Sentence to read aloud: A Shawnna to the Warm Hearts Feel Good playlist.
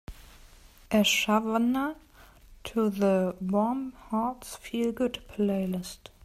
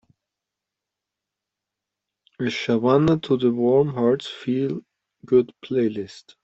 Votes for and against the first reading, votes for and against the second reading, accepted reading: 2, 0, 0, 2, first